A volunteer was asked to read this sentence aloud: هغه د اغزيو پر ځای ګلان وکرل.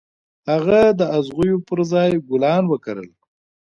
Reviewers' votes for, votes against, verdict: 2, 0, accepted